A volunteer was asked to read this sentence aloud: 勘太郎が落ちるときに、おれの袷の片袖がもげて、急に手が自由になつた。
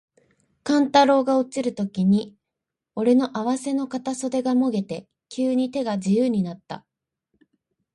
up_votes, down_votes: 4, 0